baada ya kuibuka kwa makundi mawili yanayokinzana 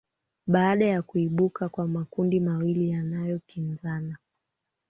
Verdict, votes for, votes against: accepted, 2, 1